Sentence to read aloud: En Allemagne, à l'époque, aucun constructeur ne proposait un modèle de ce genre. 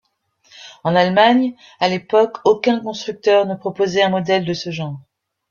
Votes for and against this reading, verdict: 2, 1, accepted